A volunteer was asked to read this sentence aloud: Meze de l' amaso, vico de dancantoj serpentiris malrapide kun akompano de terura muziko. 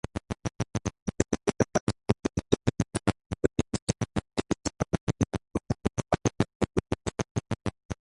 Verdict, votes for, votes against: rejected, 0, 2